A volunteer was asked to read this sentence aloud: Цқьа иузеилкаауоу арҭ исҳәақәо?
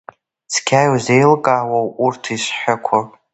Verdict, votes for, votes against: accepted, 2, 1